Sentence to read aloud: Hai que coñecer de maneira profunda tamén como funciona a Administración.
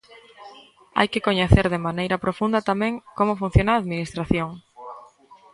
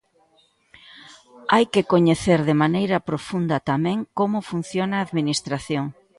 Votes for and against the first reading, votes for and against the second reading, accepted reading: 1, 2, 2, 0, second